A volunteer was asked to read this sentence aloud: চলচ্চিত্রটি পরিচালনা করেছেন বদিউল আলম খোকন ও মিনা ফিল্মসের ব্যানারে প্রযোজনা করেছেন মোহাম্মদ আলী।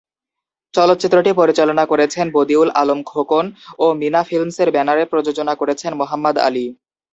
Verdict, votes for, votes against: accepted, 2, 0